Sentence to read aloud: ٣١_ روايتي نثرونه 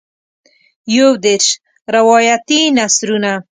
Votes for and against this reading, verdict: 0, 2, rejected